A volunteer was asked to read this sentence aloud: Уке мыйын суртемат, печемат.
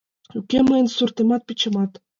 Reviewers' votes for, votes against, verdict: 2, 0, accepted